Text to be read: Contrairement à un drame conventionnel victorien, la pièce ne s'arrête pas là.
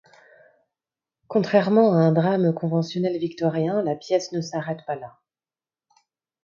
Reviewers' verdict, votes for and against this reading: accepted, 2, 0